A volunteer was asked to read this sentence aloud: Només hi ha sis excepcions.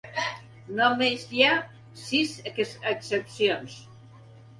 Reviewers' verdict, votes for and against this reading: rejected, 1, 2